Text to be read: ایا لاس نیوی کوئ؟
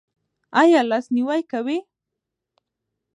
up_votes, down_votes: 2, 1